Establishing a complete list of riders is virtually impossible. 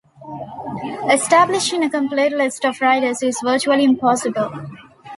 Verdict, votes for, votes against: accepted, 2, 0